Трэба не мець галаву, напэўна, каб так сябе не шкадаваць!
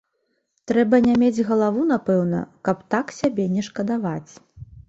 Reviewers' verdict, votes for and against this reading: accepted, 3, 0